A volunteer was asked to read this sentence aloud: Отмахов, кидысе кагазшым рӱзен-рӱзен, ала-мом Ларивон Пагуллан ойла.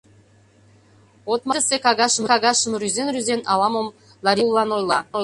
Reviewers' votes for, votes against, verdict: 0, 2, rejected